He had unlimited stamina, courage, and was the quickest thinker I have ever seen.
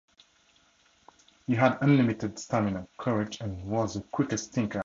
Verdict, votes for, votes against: rejected, 0, 4